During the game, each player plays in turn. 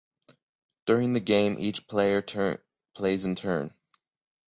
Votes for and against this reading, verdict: 0, 3, rejected